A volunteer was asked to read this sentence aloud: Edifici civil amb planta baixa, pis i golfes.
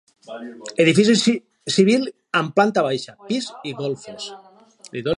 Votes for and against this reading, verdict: 0, 2, rejected